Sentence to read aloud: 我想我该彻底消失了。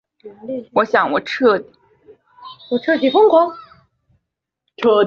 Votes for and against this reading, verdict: 0, 4, rejected